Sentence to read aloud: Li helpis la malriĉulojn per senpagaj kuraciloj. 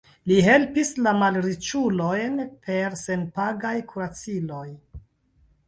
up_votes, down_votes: 2, 0